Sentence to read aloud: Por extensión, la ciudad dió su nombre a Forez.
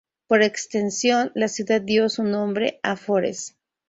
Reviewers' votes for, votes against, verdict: 0, 2, rejected